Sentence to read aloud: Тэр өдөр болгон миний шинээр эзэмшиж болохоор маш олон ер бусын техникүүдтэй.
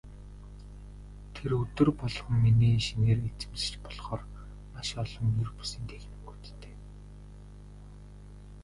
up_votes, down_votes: 1, 2